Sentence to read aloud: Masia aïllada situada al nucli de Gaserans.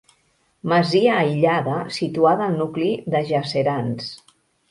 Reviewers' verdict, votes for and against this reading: rejected, 1, 2